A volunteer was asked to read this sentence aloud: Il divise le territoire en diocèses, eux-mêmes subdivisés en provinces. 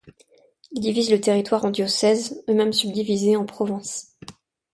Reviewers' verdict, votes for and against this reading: rejected, 1, 2